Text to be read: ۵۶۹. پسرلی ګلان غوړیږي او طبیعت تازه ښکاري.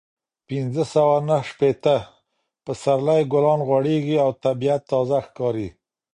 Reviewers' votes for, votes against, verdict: 0, 2, rejected